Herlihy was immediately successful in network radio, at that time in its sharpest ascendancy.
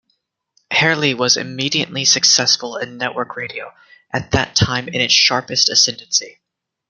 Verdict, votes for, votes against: accepted, 2, 0